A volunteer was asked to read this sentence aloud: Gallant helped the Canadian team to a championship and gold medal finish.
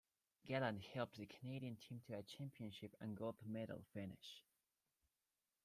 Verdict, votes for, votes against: accepted, 2, 1